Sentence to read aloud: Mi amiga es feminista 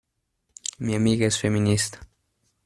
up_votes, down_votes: 2, 0